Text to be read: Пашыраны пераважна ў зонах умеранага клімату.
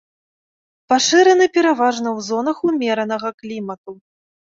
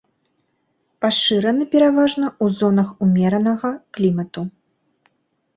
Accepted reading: first